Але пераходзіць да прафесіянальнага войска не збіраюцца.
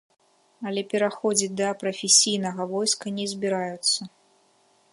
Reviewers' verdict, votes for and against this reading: rejected, 1, 2